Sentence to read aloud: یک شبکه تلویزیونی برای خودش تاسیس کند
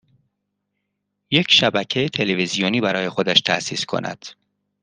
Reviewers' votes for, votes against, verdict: 2, 0, accepted